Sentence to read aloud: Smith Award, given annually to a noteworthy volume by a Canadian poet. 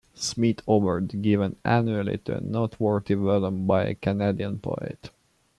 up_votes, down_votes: 2, 0